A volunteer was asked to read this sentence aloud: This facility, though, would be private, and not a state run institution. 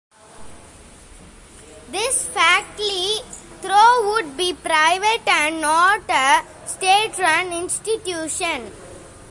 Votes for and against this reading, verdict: 1, 2, rejected